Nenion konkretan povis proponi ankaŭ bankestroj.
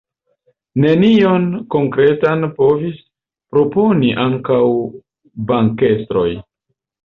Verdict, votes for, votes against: accepted, 2, 0